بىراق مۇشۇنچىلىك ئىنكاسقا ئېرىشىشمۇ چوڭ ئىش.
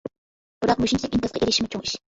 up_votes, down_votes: 1, 2